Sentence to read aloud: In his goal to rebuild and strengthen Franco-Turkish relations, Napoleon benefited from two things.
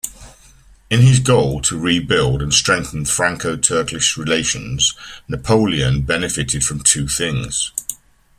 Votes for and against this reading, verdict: 3, 0, accepted